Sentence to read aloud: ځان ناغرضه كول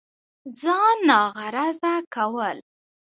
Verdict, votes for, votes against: accepted, 2, 0